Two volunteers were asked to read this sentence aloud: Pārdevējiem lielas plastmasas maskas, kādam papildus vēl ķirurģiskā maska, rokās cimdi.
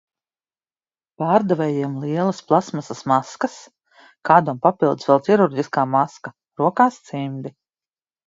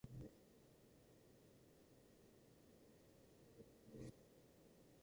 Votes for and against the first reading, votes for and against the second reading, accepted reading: 2, 0, 0, 2, first